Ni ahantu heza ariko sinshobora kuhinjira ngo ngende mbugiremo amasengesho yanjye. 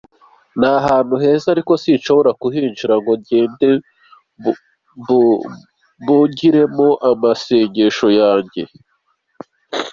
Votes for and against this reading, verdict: 2, 0, accepted